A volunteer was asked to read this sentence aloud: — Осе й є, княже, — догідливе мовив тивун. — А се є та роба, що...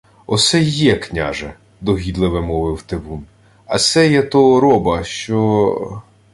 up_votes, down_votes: 1, 2